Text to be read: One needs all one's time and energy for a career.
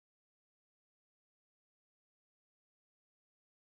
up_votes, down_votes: 0, 2